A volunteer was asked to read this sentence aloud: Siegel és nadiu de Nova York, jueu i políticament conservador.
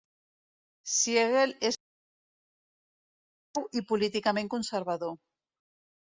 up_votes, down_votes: 0, 2